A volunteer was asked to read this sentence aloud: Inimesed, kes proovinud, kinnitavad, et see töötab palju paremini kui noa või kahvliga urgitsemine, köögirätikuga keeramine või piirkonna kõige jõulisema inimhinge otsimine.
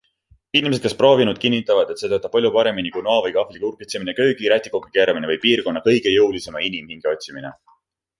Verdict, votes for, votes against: accepted, 2, 0